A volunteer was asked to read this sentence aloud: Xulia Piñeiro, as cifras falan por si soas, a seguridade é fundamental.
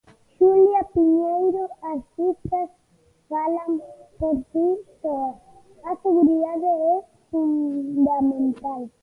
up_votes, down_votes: 0, 2